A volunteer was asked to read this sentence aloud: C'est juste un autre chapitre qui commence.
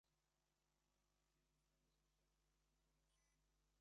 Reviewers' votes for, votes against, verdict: 0, 2, rejected